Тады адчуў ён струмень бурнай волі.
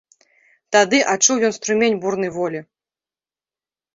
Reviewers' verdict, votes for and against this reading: accepted, 2, 0